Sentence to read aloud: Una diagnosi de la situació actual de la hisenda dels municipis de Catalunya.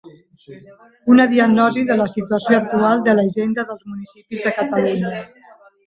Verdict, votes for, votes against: rejected, 0, 2